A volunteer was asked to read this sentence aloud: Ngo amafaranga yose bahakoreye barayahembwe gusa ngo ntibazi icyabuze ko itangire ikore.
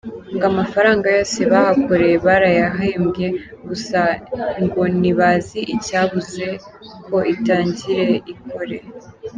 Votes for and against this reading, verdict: 2, 0, accepted